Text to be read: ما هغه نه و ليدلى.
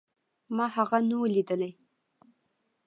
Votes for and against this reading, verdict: 2, 0, accepted